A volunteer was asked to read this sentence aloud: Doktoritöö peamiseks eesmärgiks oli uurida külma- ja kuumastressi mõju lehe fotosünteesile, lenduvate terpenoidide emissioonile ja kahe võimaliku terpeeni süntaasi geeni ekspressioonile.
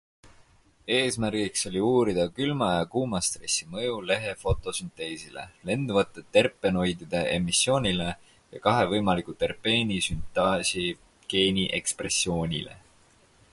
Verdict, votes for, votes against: rejected, 2, 4